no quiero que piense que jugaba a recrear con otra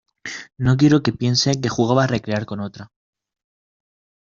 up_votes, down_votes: 2, 0